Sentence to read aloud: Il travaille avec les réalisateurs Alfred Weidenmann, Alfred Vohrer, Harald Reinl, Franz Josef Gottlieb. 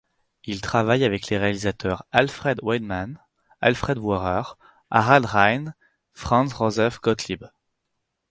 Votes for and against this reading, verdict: 4, 0, accepted